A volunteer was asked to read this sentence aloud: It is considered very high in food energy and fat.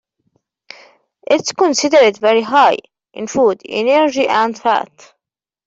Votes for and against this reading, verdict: 2, 0, accepted